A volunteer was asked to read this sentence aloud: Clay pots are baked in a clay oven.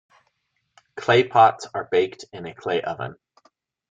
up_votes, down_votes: 2, 0